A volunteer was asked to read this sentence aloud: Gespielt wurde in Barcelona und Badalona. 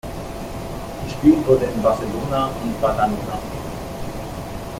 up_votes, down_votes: 1, 2